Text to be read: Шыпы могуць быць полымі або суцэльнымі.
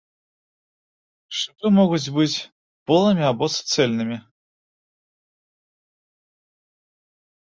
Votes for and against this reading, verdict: 1, 2, rejected